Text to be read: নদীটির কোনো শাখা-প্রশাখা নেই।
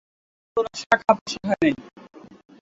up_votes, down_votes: 0, 7